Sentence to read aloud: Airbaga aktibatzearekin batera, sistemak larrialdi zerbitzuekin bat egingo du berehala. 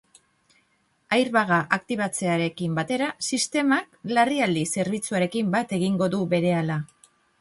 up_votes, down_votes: 0, 2